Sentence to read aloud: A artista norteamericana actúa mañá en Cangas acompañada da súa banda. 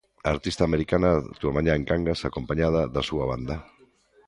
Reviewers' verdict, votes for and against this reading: rejected, 1, 2